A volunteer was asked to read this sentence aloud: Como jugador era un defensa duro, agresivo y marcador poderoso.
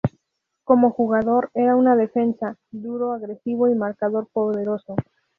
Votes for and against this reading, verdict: 0, 2, rejected